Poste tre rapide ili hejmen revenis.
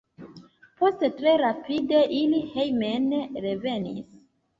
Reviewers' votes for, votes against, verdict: 3, 1, accepted